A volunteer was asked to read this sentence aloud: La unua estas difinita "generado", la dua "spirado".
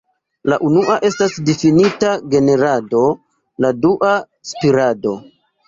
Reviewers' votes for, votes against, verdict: 2, 0, accepted